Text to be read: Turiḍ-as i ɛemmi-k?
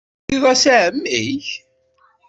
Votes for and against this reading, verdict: 0, 2, rejected